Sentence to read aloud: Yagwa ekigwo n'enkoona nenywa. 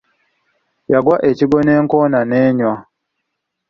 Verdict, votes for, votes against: accepted, 2, 0